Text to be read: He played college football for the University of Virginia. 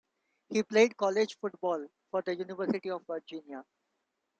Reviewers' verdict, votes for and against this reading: accepted, 2, 0